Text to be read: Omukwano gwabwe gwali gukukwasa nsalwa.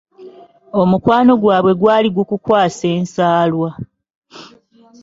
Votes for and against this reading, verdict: 0, 2, rejected